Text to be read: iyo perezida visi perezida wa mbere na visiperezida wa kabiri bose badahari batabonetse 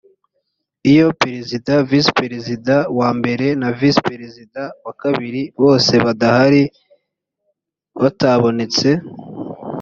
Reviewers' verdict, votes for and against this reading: accepted, 2, 0